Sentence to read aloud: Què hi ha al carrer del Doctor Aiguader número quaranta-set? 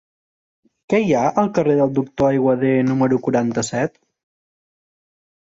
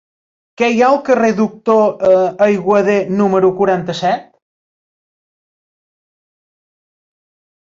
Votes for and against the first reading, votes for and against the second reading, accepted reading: 3, 0, 0, 2, first